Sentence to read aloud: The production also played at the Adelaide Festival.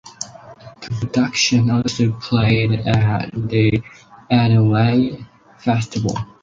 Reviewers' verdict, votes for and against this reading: accepted, 6, 0